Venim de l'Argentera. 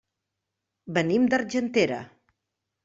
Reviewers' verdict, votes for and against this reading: rejected, 0, 2